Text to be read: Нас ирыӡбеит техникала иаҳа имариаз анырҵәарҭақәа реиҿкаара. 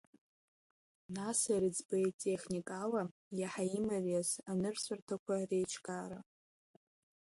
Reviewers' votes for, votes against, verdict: 2, 1, accepted